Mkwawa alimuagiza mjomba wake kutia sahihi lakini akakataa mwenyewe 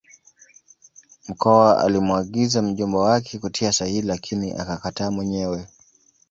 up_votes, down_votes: 2, 0